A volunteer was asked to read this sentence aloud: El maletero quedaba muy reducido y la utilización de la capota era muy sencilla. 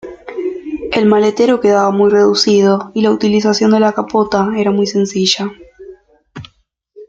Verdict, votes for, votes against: accepted, 2, 0